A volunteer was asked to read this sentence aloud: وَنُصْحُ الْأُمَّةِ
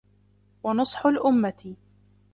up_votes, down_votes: 2, 1